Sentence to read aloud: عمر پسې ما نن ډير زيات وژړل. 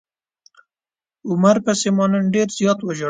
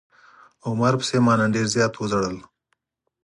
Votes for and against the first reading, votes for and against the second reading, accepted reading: 0, 2, 4, 0, second